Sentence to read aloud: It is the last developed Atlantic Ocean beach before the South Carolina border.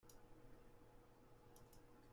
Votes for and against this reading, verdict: 0, 2, rejected